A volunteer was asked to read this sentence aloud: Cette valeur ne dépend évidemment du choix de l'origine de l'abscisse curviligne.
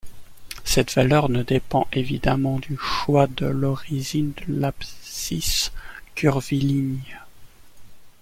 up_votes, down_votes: 2, 0